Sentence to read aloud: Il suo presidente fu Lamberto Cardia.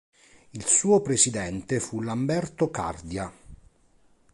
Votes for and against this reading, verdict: 2, 0, accepted